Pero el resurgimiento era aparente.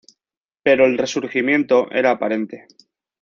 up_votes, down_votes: 2, 0